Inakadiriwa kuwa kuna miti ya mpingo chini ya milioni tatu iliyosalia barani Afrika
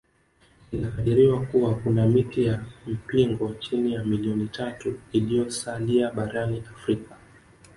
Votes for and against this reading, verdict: 3, 0, accepted